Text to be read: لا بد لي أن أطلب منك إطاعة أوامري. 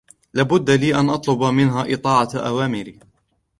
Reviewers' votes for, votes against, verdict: 2, 3, rejected